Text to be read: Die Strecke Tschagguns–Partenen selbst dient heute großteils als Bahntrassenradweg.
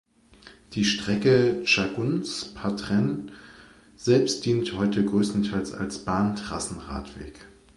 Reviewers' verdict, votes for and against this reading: rejected, 1, 2